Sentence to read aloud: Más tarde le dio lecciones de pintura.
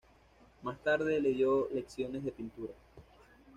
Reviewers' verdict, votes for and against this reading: accepted, 2, 0